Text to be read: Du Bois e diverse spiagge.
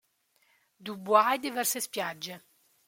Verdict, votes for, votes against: accepted, 2, 0